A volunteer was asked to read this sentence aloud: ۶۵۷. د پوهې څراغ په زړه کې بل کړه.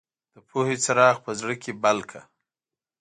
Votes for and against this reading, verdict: 0, 2, rejected